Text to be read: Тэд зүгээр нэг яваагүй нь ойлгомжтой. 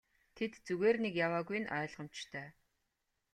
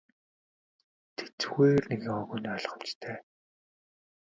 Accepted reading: first